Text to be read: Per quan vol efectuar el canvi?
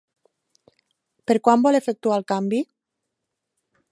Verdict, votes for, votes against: accepted, 3, 0